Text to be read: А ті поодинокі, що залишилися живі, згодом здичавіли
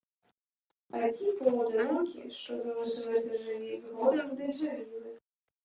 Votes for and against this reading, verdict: 2, 0, accepted